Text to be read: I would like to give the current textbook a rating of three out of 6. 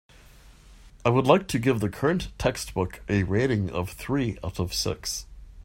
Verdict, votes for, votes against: rejected, 0, 2